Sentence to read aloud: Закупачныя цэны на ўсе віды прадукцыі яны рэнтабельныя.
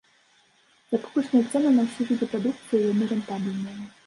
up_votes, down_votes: 1, 2